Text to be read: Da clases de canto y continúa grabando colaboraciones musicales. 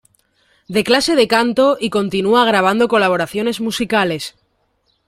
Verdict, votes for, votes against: rejected, 0, 2